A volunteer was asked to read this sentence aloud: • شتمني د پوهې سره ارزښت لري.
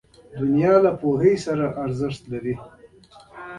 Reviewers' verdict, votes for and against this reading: accepted, 3, 0